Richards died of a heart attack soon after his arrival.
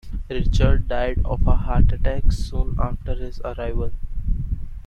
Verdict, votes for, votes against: accepted, 2, 1